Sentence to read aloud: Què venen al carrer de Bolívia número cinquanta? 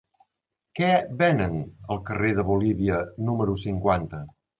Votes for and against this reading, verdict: 2, 0, accepted